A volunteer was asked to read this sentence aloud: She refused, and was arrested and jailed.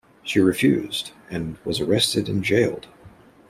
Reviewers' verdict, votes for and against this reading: accepted, 2, 0